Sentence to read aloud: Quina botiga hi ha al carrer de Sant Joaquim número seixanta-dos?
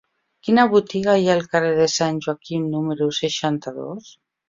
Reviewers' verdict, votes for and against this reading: accepted, 3, 0